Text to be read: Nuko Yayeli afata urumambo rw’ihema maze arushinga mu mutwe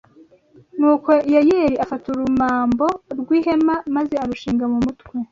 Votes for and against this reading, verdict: 2, 0, accepted